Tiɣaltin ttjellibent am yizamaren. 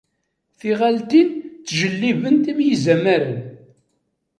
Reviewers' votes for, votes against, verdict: 2, 0, accepted